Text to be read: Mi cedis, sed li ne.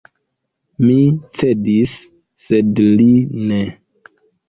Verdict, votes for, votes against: accepted, 2, 0